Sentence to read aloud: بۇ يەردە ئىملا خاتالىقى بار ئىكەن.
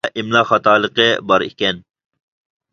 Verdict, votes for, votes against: rejected, 0, 2